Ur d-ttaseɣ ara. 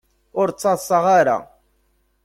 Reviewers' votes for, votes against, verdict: 1, 2, rejected